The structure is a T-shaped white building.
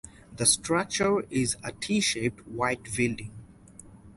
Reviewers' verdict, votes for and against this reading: rejected, 2, 2